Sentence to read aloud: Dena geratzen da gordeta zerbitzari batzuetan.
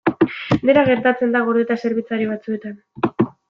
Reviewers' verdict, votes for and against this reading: rejected, 1, 2